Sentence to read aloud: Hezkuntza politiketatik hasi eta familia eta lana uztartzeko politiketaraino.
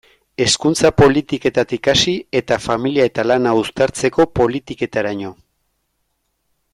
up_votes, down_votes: 2, 0